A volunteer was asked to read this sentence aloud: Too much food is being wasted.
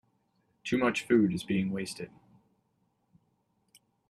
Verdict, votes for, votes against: accepted, 2, 0